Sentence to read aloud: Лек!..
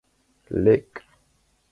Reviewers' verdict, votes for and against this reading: accepted, 4, 0